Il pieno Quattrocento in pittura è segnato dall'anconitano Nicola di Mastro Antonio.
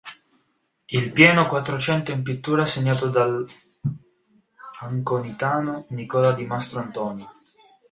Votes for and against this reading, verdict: 0, 2, rejected